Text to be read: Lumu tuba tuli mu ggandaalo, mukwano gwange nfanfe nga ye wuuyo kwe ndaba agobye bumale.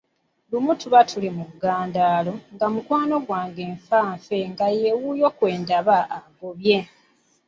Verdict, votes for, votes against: rejected, 1, 2